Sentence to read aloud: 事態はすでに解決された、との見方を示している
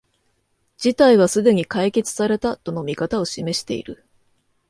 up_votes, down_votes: 2, 0